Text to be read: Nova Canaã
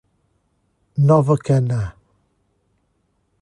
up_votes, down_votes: 1, 2